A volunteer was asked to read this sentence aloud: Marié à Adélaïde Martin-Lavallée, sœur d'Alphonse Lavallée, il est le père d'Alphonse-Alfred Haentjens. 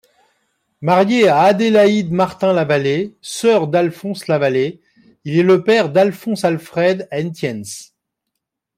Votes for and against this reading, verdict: 2, 1, accepted